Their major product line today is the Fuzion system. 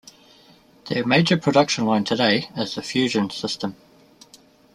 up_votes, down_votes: 1, 2